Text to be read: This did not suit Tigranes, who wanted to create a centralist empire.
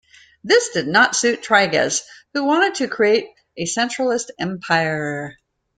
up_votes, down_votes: 0, 2